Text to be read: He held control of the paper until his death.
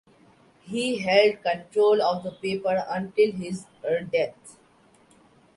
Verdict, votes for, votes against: rejected, 1, 2